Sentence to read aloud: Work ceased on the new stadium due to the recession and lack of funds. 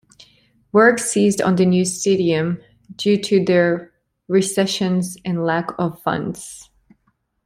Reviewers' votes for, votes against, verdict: 1, 2, rejected